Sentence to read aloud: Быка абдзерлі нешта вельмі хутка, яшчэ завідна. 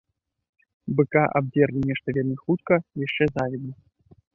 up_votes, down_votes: 2, 0